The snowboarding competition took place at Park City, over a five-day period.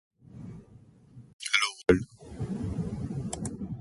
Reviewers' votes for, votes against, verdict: 0, 2, rejected